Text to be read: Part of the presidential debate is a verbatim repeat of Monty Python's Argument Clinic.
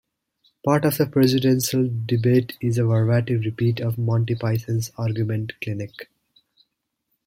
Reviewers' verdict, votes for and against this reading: rejected, 1, 2